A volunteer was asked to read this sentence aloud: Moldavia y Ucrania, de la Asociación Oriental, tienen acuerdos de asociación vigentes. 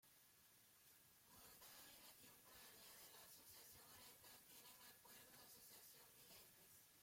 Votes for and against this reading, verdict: 0, 2, rejected